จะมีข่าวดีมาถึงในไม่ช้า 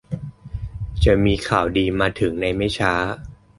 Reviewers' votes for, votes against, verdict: 2, 0, accepted